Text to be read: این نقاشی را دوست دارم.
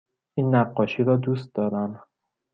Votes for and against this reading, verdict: 2, 0, accepted